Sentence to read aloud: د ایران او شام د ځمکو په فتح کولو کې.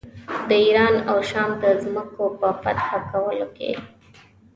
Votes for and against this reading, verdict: 2, 0, accepted